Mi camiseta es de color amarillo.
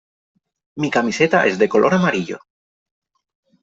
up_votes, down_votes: 3, 0